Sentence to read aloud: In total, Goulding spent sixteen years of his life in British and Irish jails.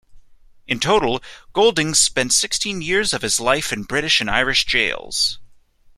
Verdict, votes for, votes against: accepted, 2, 0